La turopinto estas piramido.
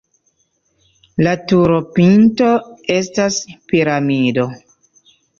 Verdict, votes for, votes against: accepted, 2, 0